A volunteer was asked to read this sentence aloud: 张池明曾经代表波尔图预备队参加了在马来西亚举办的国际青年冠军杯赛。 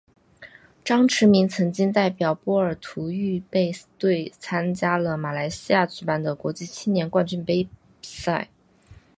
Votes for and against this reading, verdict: 3, 0, accepted